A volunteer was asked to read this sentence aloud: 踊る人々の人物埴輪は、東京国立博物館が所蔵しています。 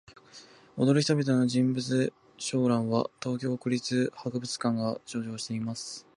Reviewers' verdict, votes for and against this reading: rejected, 1, 2